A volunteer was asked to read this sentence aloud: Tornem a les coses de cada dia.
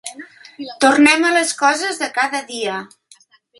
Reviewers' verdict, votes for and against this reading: accepted, 3, 0